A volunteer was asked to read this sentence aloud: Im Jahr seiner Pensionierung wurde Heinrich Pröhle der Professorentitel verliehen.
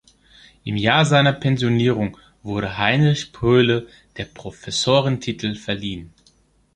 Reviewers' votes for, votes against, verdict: 2, 1, accepted